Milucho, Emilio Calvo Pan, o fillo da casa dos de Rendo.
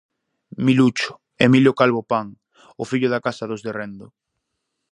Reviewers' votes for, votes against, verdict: 4, 0, accepted